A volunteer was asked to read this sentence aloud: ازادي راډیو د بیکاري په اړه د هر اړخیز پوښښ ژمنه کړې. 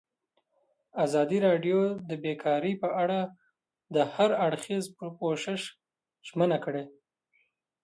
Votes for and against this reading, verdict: 2, 1, accepted